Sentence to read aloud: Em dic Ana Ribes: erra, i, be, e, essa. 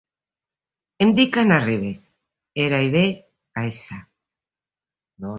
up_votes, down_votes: 0, 2